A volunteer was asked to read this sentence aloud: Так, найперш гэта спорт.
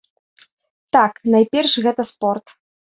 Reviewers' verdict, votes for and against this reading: accepted, 2, 0